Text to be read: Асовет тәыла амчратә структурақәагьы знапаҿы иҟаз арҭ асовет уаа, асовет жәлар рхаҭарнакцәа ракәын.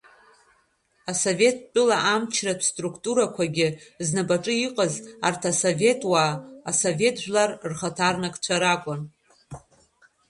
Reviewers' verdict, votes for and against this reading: rejected, 0, 2